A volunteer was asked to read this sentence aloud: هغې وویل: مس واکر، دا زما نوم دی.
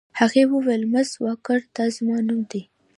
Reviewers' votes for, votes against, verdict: 2, 0, accepted